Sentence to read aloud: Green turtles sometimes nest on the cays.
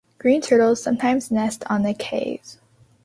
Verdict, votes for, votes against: accepted, 2, 0